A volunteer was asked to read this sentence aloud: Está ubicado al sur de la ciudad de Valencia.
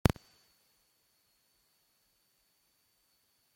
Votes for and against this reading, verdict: 0, 2, rejected